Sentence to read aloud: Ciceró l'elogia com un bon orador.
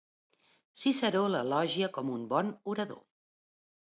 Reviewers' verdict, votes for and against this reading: rejected, 0, 2